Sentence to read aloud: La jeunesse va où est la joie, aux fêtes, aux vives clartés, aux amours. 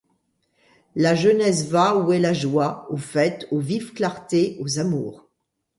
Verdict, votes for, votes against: accepted, 2, 0